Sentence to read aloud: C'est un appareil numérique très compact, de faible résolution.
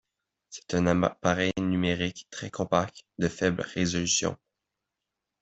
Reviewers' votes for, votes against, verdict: 1, 2, rejected